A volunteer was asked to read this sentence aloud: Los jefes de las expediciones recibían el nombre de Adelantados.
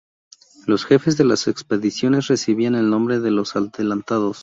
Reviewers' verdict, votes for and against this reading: rejected, 0, 2